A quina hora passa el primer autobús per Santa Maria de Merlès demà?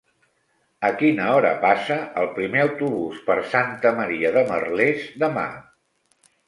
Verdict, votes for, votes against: rejected, 1, 2